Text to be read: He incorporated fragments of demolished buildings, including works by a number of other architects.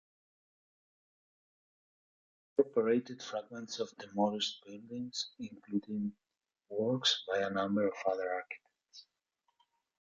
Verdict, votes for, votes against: rejected, 1, 2